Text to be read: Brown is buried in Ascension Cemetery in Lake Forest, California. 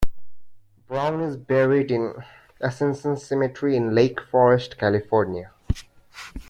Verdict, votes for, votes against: rejected, 0, 2